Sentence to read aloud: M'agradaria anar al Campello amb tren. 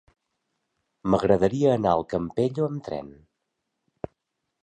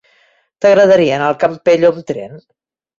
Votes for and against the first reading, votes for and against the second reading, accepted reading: 3, 0, 0, 2, first